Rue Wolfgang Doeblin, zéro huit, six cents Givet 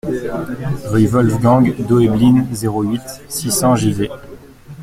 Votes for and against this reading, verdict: 1, 2, rejected